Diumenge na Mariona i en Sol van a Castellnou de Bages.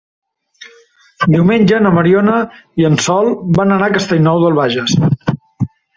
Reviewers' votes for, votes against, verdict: 0, 2, rejected